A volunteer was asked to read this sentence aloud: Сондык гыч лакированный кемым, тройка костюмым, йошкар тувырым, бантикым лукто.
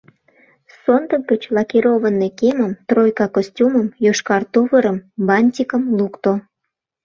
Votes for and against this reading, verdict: 2, 0, accepted